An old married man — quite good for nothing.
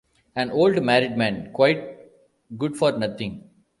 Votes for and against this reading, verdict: 0, 2, rejected